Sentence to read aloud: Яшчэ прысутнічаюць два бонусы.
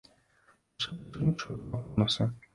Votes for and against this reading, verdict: 0, 2, rejected